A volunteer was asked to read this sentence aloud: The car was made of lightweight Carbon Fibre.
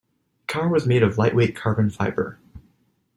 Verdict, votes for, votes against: rejected, 1, 2